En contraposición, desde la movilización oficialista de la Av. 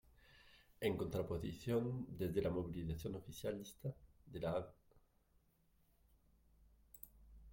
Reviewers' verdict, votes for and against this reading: rejected, 0, 2